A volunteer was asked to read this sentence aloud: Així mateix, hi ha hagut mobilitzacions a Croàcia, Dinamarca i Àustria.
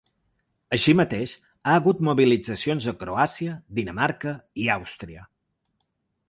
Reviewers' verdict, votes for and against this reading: rejected, 1, 2